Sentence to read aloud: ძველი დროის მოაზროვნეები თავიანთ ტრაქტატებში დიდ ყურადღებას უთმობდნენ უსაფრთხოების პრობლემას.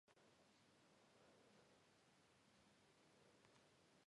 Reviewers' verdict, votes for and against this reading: rejected, 1, 2